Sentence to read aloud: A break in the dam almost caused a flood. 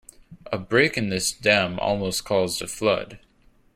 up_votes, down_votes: 1, 2